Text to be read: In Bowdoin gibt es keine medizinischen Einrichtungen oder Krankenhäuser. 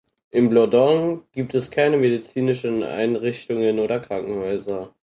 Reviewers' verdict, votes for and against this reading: rejected, 2, 4